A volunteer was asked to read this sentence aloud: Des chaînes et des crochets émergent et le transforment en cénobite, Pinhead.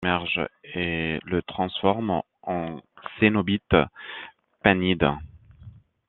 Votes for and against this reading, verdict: 0, 2, rejected